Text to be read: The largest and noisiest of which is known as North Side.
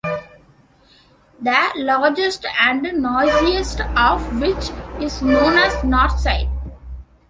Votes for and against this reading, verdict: 0, 2, rejected